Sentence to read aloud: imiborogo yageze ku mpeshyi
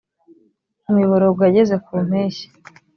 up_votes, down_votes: 2, 0